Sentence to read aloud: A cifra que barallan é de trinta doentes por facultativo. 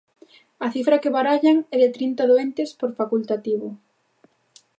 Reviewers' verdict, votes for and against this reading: accepted, 2, 0